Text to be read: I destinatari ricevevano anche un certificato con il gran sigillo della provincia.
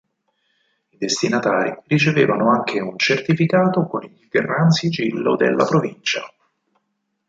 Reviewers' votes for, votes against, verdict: 2, 4, rejected